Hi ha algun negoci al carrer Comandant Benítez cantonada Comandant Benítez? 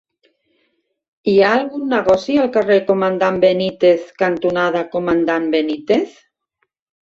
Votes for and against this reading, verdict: 3, 0, accepted